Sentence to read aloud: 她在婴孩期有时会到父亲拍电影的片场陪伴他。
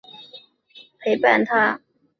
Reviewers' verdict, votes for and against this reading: rejected, 1, 2